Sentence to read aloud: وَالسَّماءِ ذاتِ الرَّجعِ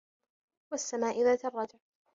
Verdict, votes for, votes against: rejected, 1, 2